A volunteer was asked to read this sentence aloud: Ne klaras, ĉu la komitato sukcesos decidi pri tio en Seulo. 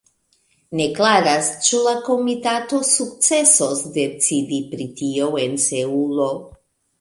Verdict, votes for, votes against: rejected, 1, 2